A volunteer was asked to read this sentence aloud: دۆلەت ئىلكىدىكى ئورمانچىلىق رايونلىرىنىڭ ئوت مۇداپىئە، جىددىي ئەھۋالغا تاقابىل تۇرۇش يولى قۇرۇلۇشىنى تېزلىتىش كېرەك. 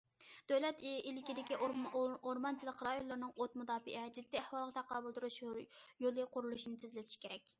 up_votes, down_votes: 0, 2